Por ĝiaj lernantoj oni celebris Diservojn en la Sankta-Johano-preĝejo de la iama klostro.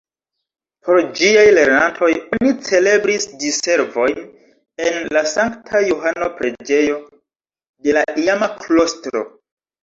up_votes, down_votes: 0, 3